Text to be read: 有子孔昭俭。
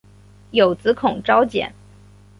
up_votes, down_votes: 1, 2